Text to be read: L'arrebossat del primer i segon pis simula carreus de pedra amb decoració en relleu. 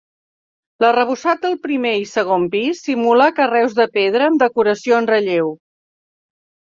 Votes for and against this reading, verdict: 2, 0, accepted